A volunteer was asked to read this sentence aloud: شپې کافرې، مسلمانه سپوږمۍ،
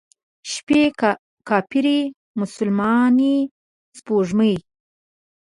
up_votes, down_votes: 1, 2